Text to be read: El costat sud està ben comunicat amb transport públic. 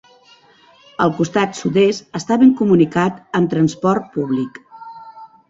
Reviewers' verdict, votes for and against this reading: rejected, 1, 2